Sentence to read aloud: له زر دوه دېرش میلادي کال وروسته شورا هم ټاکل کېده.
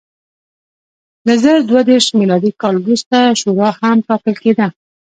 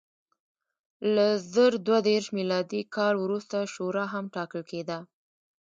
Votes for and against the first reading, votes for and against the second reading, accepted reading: 2, 1, 1, 2, first